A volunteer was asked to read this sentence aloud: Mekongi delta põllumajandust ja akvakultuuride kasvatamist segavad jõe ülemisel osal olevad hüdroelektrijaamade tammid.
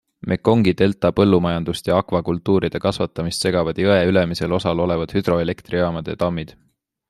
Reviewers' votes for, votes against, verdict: 3, 0, accepted